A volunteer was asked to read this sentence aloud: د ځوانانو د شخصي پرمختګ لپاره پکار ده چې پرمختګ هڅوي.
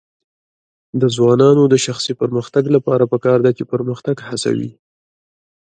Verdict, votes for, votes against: accepted, 2, 0